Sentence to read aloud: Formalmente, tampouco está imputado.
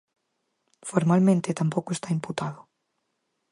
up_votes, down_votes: 4, 0